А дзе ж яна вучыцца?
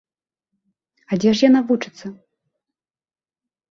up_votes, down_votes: 2, 0